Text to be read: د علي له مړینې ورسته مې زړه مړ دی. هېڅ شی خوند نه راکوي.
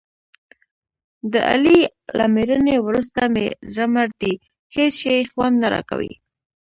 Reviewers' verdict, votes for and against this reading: accepted, 2, 0